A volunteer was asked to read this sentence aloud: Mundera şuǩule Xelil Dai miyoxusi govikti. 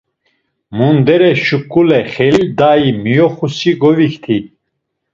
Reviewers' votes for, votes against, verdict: 1, 2, rejected